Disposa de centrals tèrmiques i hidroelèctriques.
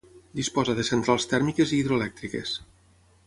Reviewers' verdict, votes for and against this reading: accepted, 12, 0